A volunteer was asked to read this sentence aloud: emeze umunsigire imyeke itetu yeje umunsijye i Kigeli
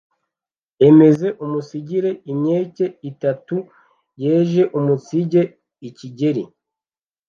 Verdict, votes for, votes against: rejected, 0, 2